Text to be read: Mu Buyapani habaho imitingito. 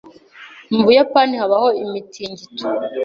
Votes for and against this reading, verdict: 2, 0, accepted